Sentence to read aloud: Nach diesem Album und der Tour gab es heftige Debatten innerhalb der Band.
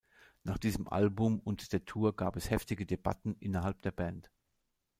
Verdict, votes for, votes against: accepted, 2, 0